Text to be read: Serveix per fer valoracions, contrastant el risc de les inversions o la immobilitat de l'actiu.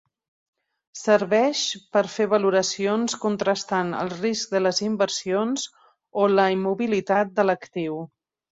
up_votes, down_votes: 3, 0